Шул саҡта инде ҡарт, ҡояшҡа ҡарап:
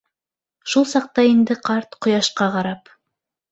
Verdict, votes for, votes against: accepted, 2, 0